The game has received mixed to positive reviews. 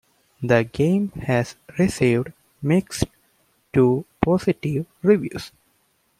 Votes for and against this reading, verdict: 2, 0, accepted